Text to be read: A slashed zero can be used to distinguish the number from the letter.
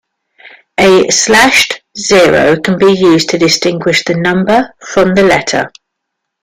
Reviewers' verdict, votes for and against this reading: accepted, 2, 0